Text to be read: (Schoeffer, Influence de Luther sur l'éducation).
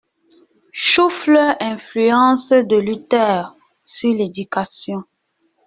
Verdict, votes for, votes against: rejected, 0, 2